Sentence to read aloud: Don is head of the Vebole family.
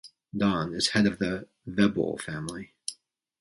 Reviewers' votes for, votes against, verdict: 2, 0, accepted